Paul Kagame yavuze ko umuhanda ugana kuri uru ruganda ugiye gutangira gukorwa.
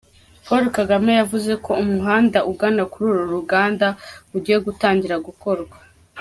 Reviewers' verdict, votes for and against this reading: accepted, 2, 1